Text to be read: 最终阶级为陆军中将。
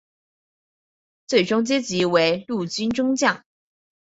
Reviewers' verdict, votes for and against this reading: accepted, 4, 0